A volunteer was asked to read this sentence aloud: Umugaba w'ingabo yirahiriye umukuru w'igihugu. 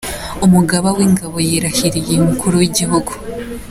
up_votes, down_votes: 2, 0